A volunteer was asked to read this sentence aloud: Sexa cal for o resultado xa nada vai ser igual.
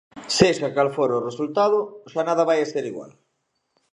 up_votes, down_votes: 0, 2